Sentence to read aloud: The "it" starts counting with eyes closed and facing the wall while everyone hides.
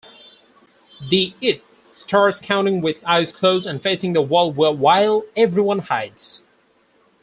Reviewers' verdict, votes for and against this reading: rejected, 2, 4